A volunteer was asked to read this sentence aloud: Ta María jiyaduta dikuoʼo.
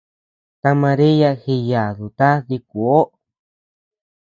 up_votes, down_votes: 2, 0